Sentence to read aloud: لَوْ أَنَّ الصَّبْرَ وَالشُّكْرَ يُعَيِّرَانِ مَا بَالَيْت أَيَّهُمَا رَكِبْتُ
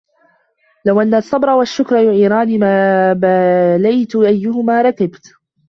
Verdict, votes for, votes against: rejected, 0, 2